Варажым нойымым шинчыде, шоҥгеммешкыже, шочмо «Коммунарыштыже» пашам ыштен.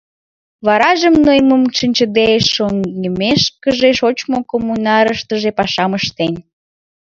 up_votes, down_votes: 1, 2